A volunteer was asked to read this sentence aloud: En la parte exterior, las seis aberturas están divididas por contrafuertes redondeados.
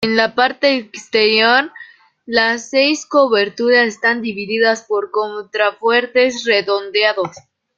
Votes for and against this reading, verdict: 0, 2, rejected